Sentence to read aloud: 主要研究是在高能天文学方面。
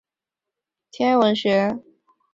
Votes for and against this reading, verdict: 2, 0, accepted